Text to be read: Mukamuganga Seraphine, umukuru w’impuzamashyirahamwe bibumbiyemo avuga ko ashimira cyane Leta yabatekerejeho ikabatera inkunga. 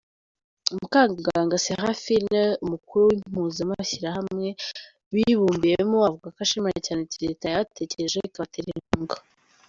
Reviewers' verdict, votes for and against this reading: rejected, 1, 2